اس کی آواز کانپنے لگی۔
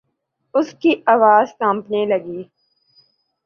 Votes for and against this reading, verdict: 3, 0, accepted